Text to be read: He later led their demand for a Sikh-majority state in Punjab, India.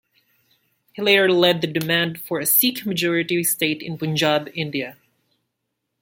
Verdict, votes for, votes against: accepted, 2, 0